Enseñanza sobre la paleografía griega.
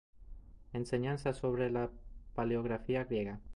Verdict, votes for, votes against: accepted, 2, 0